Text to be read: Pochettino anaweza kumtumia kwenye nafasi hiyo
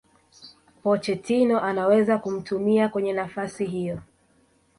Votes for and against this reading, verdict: 2, 1, accepted